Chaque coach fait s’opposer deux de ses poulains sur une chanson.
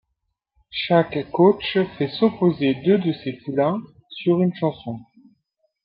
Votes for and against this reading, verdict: 1, 2, rejected